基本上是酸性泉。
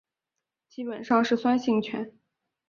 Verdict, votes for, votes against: accepted, 2, 0